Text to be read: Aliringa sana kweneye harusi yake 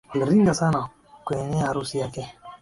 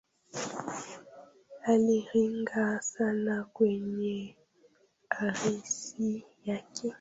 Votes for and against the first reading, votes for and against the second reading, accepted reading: 2, 0, 1, 2, first